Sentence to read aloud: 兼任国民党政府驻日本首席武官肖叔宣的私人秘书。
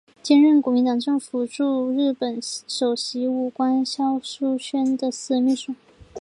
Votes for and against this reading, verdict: 2, 0, accepted